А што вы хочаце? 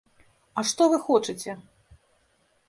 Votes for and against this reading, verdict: 2, 0, accepted